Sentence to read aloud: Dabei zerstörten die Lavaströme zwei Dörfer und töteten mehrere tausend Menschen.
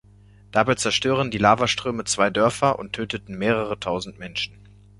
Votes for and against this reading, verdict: 1, 2, rejected